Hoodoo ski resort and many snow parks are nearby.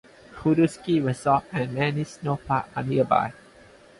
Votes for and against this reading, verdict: 2, 4, rejected